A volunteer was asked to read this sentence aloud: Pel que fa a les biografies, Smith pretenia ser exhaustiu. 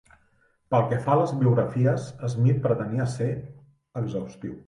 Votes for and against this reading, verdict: 2, 0, accepted